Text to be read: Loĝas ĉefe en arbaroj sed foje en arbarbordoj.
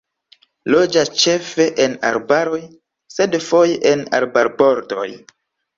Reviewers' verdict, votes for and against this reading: accepted, 2, 0